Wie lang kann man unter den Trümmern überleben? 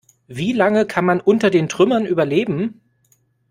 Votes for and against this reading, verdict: 1, 2, rejected